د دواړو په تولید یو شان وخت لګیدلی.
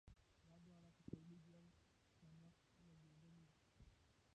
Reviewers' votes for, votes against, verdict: 0, 2, rejected